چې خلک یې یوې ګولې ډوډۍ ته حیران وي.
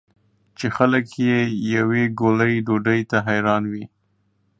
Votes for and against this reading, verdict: 2, 0, accepted